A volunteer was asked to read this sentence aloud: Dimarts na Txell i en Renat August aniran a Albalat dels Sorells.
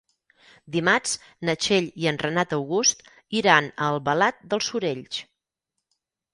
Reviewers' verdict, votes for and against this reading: rejected, 0, 6